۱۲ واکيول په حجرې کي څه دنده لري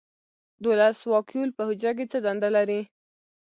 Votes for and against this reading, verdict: 0, 2, rejected